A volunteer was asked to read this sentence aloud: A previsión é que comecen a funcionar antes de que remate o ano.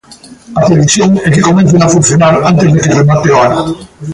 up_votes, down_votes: 1, 2